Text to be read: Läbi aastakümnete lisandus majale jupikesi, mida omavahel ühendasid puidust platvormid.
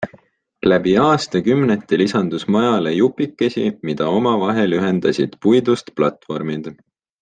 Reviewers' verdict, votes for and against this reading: accepted, 3, 0